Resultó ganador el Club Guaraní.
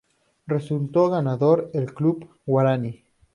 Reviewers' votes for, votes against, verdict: 2, 0, accepted